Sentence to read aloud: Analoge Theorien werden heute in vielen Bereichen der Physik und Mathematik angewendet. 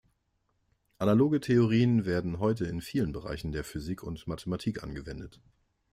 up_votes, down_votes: 2, 0